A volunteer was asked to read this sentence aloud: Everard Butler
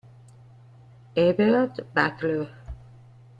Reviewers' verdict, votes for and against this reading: rejected, 1, 2